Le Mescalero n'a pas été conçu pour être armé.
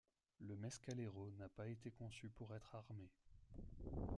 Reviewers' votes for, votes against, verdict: 1, 2, rejected